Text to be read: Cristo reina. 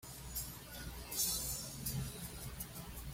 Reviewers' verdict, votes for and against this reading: rejected, 1, 2